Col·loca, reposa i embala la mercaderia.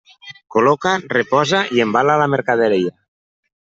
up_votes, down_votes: 1, 2